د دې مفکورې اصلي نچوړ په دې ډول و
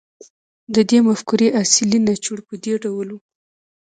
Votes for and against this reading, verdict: 0, 2, rejected